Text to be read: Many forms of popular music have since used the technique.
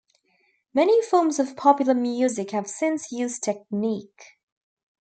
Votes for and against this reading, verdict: 1, 2, rejected